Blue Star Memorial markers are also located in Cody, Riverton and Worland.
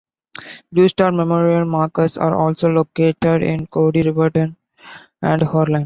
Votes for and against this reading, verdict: 2, 1, accepted